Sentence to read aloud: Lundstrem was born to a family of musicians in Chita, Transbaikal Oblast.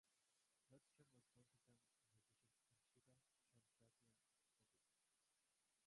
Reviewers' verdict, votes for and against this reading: rejected, 0, 2